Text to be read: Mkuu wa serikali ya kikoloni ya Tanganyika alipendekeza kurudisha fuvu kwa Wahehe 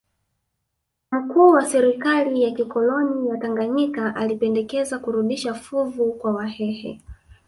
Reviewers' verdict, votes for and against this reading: rejected, 0, 2